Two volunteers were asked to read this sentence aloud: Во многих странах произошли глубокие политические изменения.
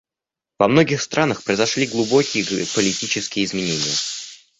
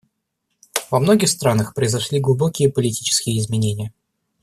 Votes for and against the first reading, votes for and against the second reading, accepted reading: 0, 2, 2, 0, second